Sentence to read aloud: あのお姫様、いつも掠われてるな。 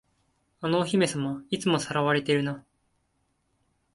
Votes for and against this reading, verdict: 2, 0, accepted